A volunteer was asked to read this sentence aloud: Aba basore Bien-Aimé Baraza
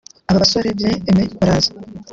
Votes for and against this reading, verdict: 2, 0, accepted